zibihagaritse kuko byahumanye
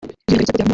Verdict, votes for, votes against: rejected, 0, 2